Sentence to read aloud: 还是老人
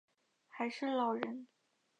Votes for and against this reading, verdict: 9, 1, accepted